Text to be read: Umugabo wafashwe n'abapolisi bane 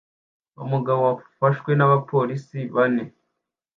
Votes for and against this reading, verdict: 2, 0, accepted